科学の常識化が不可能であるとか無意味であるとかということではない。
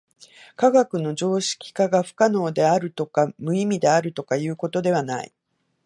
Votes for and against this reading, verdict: 2, 0, accepted